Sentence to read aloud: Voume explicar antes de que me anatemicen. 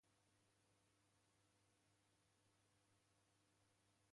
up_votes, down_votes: 0, 2